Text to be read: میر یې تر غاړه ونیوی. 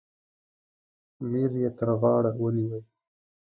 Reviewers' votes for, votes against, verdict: 2, 0, accepted